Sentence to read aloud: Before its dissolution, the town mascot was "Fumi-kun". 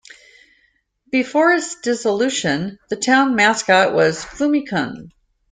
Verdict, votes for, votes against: accepted, 2, 0